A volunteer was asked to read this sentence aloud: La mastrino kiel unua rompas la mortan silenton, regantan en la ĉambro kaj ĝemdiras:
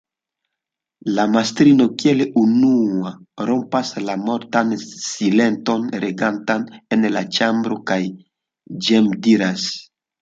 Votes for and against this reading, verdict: 2, 0, accepted